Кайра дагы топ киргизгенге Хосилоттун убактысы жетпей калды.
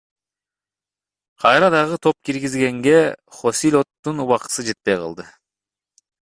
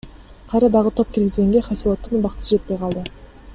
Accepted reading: first